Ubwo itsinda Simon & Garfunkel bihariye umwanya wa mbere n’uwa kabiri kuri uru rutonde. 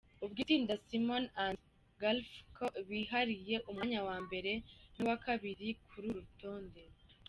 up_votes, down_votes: 2, 0